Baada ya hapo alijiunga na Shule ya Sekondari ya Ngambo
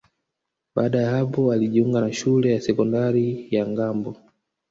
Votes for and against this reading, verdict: 1, 2, rejected